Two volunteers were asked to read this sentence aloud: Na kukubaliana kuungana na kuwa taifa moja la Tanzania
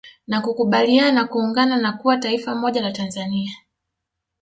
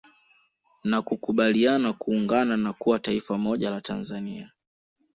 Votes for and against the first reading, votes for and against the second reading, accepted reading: 0, 2, 3, 0, second